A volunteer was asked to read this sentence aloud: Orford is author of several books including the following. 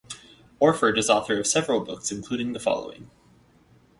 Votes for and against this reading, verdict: 4, 0, accepted